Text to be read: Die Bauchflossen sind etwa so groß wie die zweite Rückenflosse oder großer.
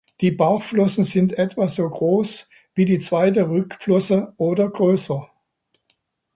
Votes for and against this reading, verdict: 1, 2, rejected